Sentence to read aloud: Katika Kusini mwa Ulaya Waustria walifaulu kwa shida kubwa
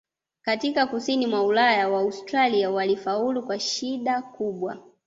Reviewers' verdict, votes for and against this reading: rejected, 1, 2